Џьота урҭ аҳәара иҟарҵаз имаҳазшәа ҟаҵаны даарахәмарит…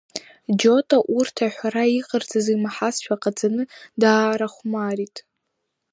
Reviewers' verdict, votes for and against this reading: accepted, 2, 1